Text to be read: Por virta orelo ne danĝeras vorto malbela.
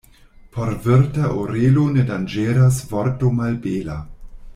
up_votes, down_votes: 2, 0